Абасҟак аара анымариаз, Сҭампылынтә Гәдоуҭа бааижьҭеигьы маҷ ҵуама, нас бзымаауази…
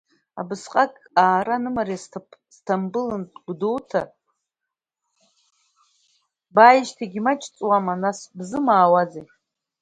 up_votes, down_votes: 1, 2